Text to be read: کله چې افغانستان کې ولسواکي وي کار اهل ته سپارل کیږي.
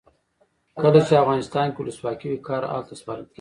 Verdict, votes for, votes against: rejected, 1, 2